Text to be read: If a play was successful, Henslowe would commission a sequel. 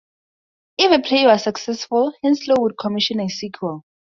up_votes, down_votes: 2, 0